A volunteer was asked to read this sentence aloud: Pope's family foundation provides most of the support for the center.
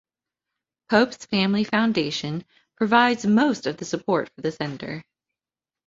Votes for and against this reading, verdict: 2, 0, accepted